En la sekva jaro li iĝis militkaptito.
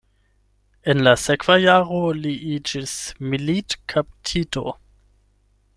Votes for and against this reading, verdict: 8, 0, accepted